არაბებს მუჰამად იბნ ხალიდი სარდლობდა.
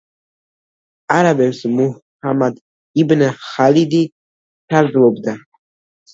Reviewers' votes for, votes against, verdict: 2, 0, accepted